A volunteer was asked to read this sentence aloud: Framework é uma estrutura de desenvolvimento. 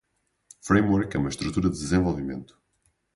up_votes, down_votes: 2, 2